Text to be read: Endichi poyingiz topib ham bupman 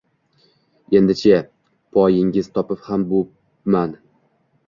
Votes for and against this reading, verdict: 1, 2, rejected